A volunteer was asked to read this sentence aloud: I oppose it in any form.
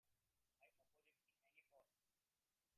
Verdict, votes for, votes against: rejected, 1, 3